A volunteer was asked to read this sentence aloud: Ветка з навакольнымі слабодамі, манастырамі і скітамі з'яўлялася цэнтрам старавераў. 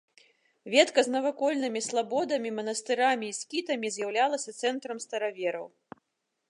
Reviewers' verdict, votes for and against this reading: rejected, 1, 2